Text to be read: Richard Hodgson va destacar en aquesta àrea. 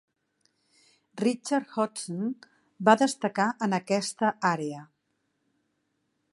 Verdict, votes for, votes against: accepted, 2, 0